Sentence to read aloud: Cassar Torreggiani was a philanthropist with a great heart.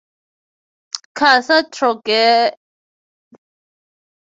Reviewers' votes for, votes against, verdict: 0, 6, rejected